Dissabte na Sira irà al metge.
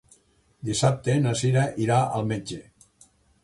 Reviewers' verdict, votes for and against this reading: accepted, 2, 0